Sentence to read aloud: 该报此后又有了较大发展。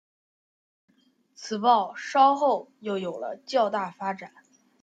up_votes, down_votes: 0, 2